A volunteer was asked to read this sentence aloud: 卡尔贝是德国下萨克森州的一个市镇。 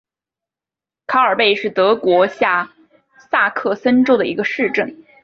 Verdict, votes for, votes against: accepted, 2, 0